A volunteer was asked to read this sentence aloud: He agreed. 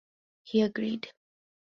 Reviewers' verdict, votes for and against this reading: accepted, 2, 0